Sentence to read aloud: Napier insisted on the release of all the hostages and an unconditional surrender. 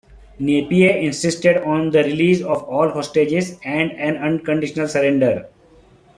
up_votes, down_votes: 0, 3